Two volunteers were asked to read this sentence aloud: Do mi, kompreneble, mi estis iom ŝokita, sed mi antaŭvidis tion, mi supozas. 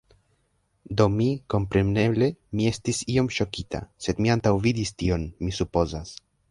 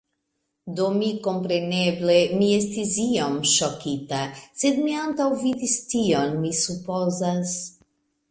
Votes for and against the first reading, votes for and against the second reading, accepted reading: 1, 2, 2, 1, second